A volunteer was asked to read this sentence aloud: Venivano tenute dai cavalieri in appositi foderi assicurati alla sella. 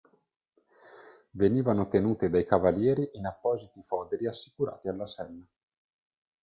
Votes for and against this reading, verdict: 2, 0, accepted